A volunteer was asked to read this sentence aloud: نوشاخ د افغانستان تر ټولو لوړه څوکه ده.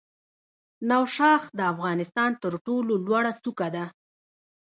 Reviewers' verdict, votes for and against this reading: rejected, 1, 2